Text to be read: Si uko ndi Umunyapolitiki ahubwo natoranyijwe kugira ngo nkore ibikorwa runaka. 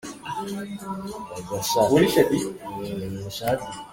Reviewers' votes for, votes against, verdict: 0, 2, rejected